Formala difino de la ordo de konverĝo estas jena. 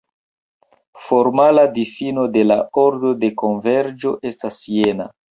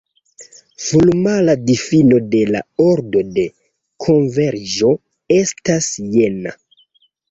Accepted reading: first